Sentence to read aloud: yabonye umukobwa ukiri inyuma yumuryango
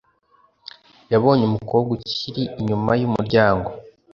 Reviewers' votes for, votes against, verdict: 2, 0, accepted